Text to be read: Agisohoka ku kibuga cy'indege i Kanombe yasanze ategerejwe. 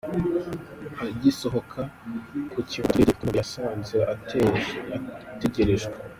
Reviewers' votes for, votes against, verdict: 0, 2, rejected